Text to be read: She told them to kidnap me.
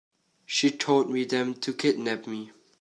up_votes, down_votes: 0, 2